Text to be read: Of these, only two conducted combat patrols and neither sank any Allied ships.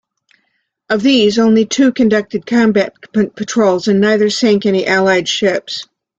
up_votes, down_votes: 2, 1